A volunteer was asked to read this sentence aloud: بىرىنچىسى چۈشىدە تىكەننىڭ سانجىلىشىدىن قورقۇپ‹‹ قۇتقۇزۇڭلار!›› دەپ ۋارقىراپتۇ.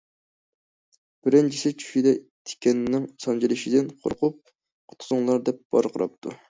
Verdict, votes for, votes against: accepted, 2, 0